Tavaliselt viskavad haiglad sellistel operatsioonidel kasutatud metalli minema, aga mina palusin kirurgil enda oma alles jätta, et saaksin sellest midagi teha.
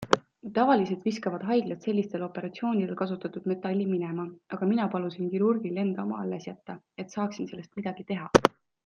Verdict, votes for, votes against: accepted, 2, 0